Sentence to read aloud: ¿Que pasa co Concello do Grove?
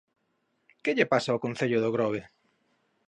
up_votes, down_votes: 1, 2